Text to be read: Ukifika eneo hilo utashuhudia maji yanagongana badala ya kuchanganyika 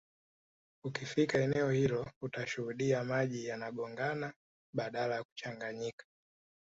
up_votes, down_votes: 2, 0